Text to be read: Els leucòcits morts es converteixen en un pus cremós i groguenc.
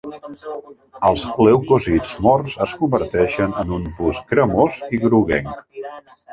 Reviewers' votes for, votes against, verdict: 1, 2, rejected